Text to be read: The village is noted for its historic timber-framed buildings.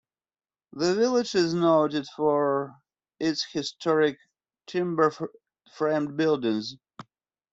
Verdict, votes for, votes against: accepted, 2, 0